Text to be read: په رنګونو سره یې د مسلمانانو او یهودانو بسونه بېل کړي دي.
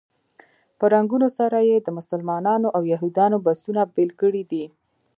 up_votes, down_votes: 1, 2